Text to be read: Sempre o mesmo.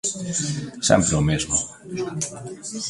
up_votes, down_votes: 0, 2